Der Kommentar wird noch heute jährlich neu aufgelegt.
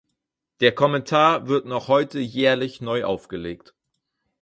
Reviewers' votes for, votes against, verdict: 4, 0, accepted